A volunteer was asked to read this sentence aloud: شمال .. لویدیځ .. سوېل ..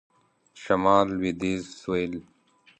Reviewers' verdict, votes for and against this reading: rejected, 1, 2